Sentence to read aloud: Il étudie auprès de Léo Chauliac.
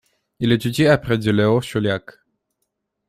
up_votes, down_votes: 1, 2